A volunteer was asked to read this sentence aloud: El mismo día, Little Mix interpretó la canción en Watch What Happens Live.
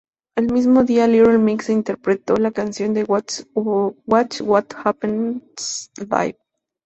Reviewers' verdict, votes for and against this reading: rejected, 0, 2